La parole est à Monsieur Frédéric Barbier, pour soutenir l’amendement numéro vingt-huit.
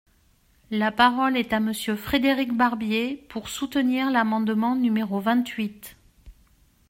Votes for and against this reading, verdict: 2, 0, accepted